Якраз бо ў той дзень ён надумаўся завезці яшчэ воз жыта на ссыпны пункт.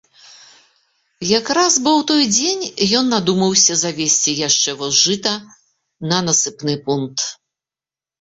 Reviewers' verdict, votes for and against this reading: rejected, 1, 2